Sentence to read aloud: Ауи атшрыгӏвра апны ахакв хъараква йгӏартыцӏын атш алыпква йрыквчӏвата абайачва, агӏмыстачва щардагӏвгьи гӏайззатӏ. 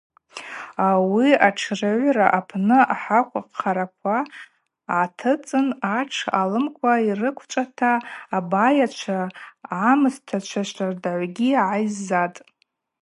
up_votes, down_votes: 2, 0